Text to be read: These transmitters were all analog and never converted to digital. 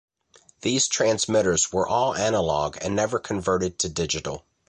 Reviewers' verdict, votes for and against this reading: accepted, 2, 0